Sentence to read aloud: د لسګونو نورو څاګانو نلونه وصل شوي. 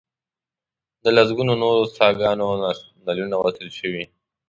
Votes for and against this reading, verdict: 2, 1, accepted